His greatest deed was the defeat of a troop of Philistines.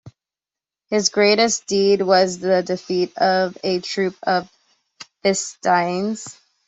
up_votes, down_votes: 1, 2